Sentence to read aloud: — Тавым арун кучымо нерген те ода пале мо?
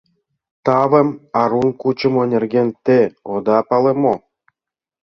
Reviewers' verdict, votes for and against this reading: accepted, 2, 0